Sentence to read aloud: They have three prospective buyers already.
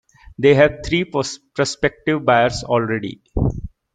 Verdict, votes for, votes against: rejected, 1, 2